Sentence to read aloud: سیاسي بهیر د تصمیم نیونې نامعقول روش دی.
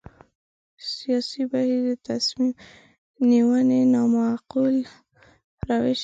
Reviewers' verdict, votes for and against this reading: rejected, 1, 2